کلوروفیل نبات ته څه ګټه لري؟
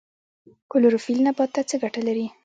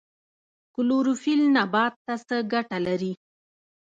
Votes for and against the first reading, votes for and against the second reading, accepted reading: 0, 2, 2, 0, second